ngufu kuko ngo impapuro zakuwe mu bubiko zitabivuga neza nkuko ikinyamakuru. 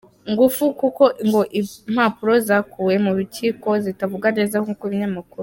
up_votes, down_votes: 1, 2